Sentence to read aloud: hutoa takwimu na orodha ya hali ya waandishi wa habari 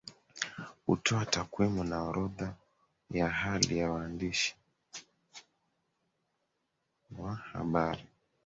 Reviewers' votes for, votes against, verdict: 2, 1, accepted